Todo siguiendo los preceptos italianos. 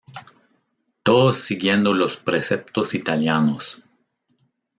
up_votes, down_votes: 1, 2